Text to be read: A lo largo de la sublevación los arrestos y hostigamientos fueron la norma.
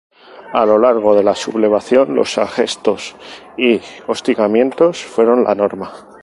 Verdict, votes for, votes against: rejected, 2, 2